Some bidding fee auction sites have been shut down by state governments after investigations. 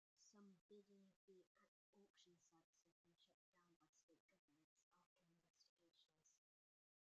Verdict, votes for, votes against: rejected, 0, 2